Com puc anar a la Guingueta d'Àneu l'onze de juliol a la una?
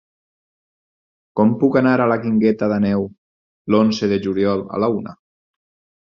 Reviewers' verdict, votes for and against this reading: rejected, 2, 4